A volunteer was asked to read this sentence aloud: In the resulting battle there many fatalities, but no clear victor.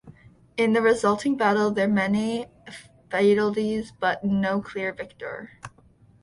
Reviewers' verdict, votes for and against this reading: accepted, 2, 0